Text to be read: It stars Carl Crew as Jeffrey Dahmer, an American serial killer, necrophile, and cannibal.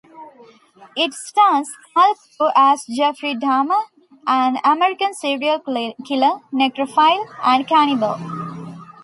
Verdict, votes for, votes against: rejected, 1, 2